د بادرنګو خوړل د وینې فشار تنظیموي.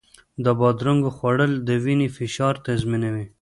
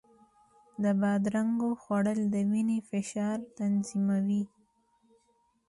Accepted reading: second